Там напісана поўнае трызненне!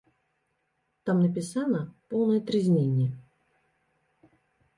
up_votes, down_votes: 1, 2